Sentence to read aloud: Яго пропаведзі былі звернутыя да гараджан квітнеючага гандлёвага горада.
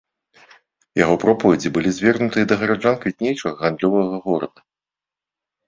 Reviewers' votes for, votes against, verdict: 2, 0, accepted